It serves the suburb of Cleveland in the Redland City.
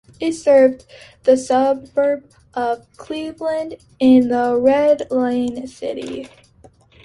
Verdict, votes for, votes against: rejected, 0, 2